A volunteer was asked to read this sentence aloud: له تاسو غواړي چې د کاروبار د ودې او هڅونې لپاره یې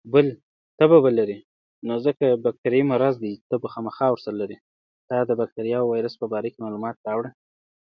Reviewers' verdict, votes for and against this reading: rejected, 0, 2